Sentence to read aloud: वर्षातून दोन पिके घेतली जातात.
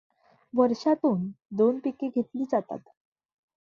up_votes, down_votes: 2, 0